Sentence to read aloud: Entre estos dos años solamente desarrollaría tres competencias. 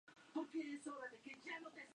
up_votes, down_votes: 0, 4